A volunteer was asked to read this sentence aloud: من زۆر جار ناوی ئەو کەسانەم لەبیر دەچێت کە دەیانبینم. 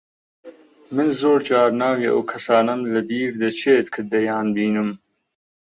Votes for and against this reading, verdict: 6, 0, accepted